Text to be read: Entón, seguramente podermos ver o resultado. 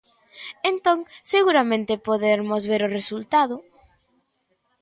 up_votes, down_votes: 2, 0